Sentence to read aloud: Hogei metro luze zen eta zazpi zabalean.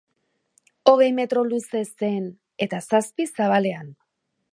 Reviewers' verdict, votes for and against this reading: accepted, 3, 1